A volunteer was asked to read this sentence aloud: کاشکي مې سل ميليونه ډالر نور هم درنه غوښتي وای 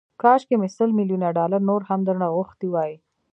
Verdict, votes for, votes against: rejected, 1, 2